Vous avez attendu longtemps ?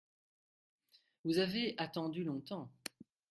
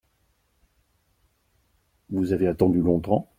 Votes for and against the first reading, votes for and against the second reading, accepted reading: 0, 2, 2, 0, second